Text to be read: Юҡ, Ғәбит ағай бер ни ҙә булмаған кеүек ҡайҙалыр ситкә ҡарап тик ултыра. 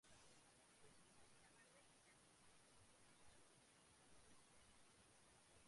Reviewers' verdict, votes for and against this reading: rejected, 1, 4